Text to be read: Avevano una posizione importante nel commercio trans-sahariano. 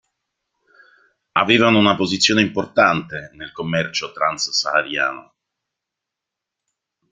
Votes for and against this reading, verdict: 2, 0, accepted